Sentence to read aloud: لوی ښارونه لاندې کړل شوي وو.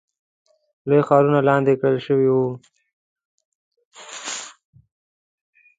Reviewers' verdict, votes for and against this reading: accepted, 2, 0